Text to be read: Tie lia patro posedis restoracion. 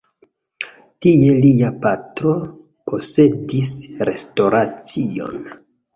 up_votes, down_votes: 1, 2